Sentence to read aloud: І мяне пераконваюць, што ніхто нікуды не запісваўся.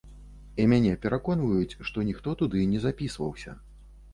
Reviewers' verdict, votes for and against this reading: rejected, 0, 2